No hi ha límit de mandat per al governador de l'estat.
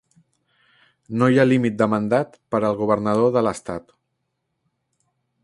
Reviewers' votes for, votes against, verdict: 4, 0, accepted